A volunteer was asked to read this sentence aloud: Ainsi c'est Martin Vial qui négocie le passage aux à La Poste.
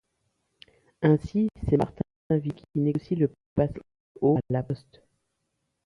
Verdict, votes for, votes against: rejected, 0, 2